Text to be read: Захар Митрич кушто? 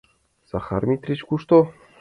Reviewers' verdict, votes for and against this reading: accepted, 2, 0